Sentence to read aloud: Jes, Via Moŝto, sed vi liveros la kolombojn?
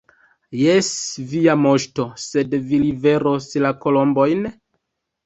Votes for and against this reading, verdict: 2, 0, accepted